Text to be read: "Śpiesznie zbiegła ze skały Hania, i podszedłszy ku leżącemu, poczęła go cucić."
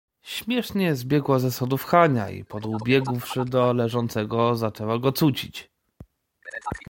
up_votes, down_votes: 0, 2